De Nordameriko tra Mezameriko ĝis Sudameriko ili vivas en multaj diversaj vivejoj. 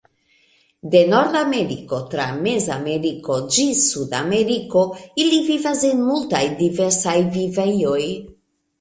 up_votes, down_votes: 1, 2